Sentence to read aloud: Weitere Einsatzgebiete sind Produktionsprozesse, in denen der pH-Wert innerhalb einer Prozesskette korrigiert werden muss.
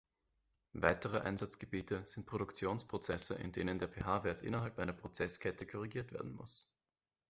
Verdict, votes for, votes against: accepted, 2, 0